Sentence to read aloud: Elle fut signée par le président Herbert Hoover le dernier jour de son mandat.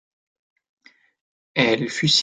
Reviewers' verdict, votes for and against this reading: rejected, 0, 2